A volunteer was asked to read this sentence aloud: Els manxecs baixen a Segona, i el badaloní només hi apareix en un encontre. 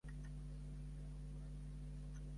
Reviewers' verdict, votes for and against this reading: rejected, 0, 2